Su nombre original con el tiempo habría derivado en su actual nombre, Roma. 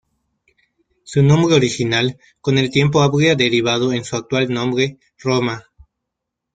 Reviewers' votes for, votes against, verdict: 0, 2, rejected